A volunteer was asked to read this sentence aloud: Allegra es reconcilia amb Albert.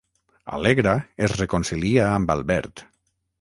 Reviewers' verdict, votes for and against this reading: rejected, 3, 3